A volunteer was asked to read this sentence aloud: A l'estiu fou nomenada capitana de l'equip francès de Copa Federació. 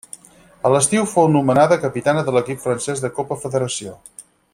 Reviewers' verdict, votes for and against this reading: accepted, 6, 0